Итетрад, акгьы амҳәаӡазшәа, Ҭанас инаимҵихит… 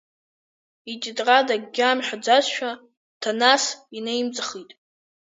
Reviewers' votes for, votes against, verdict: 3, 1, accepted